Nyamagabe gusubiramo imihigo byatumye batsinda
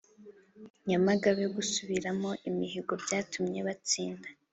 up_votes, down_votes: 4, 0